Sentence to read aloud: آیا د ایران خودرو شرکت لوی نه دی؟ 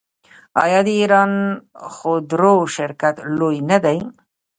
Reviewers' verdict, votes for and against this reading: rejected, 0, 2